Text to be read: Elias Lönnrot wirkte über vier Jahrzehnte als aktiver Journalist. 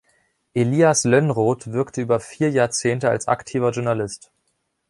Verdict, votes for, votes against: accepted, 2, 0